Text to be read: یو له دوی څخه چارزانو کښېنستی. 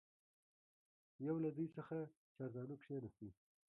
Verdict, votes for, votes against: rejected, 0, 2